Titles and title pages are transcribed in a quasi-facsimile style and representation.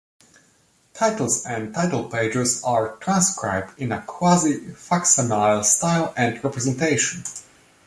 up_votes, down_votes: 0, 2